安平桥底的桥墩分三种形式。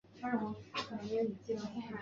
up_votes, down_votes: 0, 2